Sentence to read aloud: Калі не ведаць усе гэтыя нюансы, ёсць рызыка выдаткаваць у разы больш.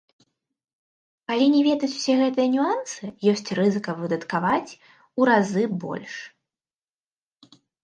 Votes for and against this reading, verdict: 1, 2, rejected